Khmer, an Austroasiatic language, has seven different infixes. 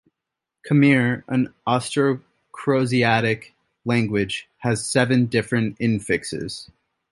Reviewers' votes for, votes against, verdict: 0, 2, rejected